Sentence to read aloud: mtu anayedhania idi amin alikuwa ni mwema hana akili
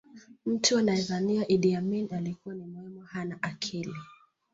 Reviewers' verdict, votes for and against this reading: rejected, 0, 2